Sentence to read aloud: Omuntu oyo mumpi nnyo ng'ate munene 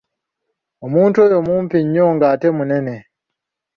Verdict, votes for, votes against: accepted, 2, 0